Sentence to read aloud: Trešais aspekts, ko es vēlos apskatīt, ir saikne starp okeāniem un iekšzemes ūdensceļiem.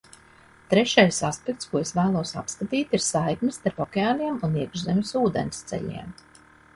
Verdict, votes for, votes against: accepted, 2, 0